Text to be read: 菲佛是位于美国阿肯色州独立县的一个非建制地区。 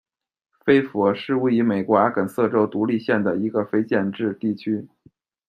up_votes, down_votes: 2, 0